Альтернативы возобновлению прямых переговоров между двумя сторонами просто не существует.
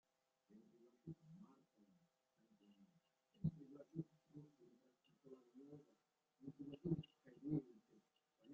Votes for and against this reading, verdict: 0, 2, rejected